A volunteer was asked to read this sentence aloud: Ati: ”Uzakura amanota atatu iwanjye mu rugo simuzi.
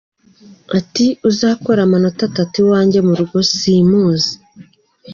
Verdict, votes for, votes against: accepted, 2, 1